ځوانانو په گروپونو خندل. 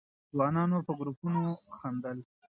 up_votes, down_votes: 2, 0